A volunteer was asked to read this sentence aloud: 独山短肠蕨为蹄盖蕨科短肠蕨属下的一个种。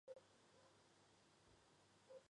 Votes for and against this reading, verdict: 0, 2, rejected